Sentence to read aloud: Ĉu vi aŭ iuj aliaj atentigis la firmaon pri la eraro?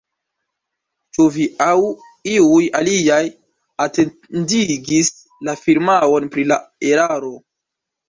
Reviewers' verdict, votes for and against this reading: accepted, 2, 1